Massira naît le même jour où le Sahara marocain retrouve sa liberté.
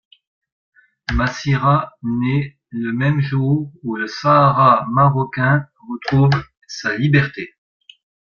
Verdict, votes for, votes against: accepted, 2, 0